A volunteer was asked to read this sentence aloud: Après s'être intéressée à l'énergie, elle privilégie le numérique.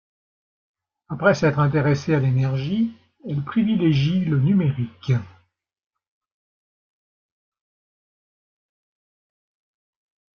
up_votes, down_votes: 0, 2